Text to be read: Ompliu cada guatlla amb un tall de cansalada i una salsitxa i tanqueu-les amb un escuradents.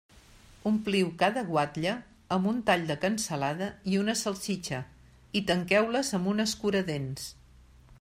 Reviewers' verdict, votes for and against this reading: accepted, 2, 0